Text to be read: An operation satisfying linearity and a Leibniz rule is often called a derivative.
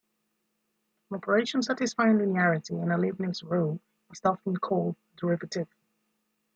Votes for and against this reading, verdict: 2, 0, accepted